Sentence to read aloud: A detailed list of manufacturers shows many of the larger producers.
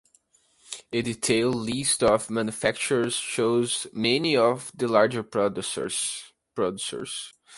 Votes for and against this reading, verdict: 1, 2, rejected